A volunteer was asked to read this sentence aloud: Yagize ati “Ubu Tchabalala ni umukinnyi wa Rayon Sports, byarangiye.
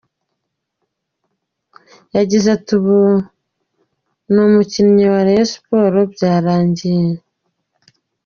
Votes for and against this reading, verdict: 1, 2, rejected